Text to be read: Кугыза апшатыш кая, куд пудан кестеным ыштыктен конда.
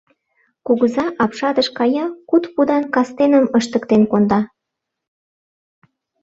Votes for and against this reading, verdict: 0, 2, rejected